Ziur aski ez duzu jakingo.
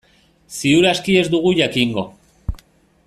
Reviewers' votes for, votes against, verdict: 1, 2, rejected